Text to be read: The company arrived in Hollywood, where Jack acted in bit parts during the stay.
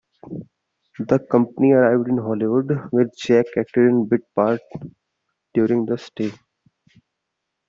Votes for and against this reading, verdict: 0, 2, rejected